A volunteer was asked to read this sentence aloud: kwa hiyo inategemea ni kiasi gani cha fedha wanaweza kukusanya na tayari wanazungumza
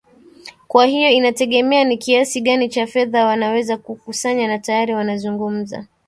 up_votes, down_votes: 1, 2